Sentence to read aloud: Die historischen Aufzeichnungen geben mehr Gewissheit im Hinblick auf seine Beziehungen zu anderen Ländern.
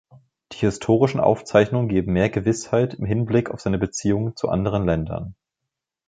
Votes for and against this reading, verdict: 2, 0, accepted